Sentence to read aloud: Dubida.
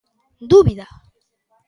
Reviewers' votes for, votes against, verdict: 0, 2, rejected